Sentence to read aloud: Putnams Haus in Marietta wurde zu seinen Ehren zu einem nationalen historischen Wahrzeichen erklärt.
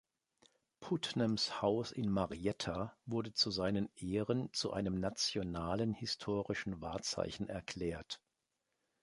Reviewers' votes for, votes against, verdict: 4, 0, accepted